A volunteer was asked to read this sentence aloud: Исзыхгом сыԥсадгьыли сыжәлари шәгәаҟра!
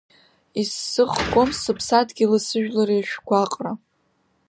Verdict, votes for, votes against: rejected, 1, 2